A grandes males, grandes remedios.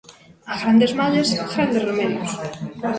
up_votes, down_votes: 1, 2